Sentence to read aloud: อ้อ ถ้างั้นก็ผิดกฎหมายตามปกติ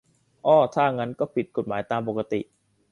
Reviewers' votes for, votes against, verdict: 2, 0, accepted